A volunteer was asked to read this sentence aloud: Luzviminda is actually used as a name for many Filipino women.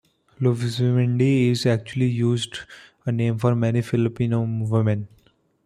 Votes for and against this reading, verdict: 0, 2, rejected